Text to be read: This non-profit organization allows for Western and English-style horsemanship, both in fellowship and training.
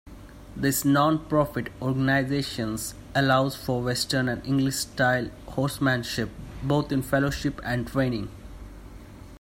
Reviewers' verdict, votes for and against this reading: rejected, 0, 2